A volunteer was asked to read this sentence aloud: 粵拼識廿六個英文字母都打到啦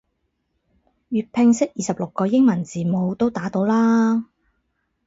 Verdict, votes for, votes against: rejected, 2, 4